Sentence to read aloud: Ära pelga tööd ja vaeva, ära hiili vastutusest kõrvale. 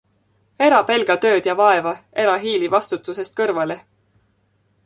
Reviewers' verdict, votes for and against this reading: accepted, 2, 0